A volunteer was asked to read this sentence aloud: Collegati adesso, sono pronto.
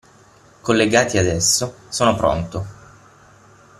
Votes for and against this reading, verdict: 0, 6, rejected